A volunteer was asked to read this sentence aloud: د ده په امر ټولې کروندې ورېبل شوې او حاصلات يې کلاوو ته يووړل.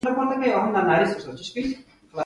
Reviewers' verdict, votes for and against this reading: accepted, 2, 1